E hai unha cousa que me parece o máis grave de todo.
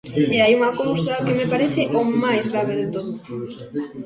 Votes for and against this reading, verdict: 0, 2, rejected